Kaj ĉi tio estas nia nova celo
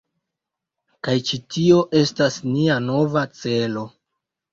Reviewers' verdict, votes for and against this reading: accepted, 2, 0